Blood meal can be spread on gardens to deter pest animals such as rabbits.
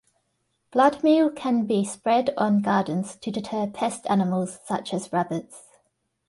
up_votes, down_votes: 2, 0